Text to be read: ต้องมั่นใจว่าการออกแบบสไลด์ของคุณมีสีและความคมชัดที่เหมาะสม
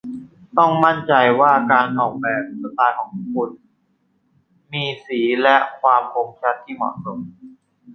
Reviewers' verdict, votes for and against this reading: rejected, 1, 2